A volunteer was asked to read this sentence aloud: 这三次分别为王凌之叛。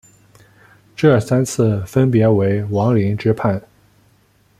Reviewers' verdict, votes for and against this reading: accepted, 2, 0